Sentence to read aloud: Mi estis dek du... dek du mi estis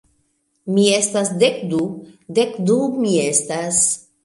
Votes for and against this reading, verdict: 0, 2, rejected